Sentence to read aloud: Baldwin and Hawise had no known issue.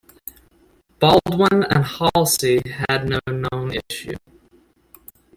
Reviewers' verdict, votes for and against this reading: rejected, 0, 2